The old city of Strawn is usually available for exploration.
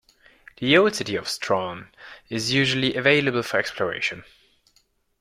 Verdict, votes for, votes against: accepted, 2, 0